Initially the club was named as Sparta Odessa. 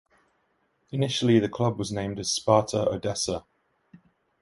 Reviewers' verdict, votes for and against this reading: accepted, 2, 0